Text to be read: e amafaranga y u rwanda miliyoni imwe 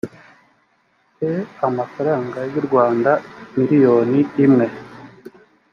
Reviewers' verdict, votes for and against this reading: accepted, 2, 1